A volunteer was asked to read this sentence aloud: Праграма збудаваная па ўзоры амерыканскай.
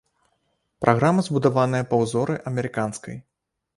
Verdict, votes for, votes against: rejected, 0, 2